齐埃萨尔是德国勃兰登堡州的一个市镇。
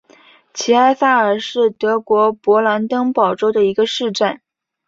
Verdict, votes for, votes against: accepted, 2, 0